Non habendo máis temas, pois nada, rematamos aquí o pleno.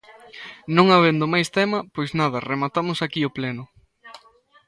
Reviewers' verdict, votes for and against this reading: rejected, 0, 2